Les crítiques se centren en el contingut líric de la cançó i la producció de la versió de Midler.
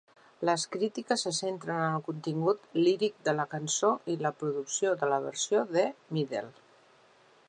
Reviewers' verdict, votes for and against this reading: accepted, 2, 0